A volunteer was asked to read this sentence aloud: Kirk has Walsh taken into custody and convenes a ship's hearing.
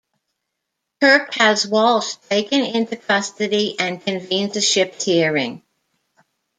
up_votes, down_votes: 1, 2